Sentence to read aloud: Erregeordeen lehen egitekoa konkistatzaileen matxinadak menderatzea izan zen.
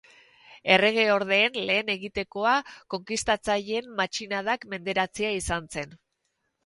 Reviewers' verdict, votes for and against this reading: accepted, 4, 0